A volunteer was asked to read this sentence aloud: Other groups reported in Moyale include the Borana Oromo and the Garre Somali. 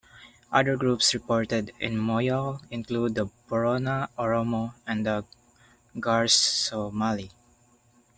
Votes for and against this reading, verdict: 1, 2, rejected